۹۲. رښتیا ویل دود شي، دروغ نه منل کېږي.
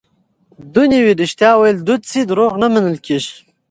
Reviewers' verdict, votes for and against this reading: rejected, 0, 2